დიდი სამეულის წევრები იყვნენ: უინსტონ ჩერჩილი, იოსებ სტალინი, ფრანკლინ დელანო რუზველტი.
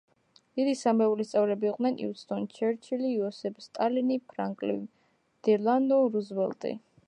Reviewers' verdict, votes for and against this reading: rejected, 1, 2